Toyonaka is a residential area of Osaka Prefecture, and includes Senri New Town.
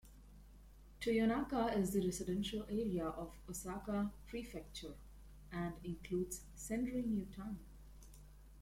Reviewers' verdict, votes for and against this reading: accepted, 2, 0